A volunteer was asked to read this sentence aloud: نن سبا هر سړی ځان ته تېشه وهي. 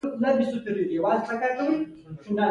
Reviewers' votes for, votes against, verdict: 1, 2, rejected